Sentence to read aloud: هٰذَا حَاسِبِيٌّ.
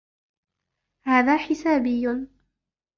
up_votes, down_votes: 0, 2